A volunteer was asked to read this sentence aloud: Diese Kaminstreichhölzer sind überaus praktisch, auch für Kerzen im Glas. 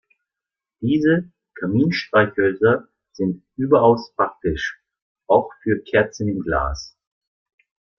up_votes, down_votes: 0, 2